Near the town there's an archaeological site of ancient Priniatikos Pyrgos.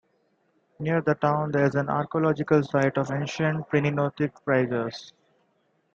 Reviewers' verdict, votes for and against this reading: accepted, 2, 0